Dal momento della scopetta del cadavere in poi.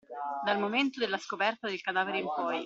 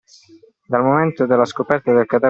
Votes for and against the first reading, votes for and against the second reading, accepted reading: 2, 0, 0, 2, first